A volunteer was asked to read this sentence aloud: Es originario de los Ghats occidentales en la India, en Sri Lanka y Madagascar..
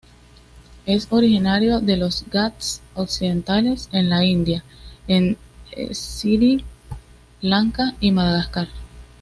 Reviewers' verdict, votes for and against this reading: rejected, 1, 2